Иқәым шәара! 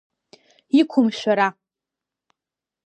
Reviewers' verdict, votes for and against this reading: accepted, 2, 0